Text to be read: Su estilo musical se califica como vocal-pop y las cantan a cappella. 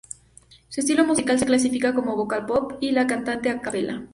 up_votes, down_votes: 2, 0